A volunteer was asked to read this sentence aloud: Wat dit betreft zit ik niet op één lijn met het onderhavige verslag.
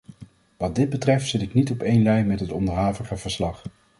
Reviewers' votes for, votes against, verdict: 2, 0, accepted